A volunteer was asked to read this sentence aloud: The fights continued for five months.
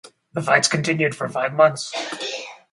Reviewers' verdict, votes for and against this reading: rejected, 2, 2